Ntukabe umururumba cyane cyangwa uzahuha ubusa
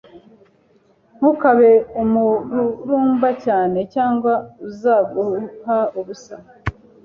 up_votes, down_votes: 1, 2